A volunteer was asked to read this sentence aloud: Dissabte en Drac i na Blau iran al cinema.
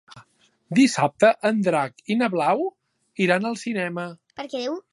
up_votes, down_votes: 1, 2